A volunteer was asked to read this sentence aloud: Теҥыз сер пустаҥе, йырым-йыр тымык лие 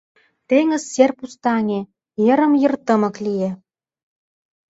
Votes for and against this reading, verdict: 2, 0, accepted